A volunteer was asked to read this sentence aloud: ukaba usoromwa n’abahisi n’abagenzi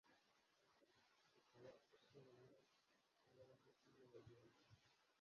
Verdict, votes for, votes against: rejected, 0, 2